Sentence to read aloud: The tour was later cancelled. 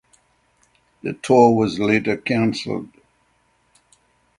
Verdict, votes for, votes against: accepted, 6, 0